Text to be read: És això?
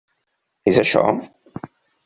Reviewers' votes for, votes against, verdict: 2, 0, accepted